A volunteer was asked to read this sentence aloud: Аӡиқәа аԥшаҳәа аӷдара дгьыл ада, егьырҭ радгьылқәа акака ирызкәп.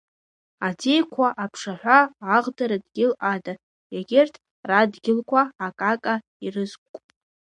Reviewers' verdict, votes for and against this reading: accepted, 2, 0